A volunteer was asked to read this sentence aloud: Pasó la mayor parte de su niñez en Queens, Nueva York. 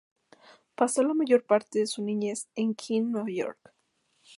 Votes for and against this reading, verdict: 2, 0, accepted